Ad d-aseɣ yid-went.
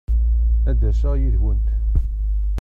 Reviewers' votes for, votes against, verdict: 1, 2, rejected